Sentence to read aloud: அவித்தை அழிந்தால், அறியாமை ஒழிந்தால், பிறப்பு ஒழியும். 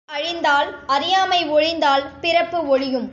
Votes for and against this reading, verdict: 1, 2, rejected